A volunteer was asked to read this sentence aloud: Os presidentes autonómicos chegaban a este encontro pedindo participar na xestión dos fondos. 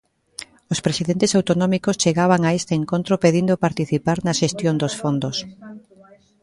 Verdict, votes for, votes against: rejected, 1, 2